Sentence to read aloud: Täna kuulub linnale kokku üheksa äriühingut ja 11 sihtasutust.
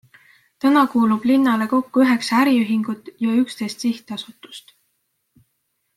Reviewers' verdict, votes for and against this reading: rejected, 0, 2